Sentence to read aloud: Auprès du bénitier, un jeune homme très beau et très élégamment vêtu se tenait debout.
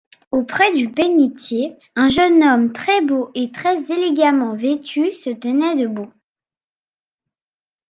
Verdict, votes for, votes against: accepted, 2, 0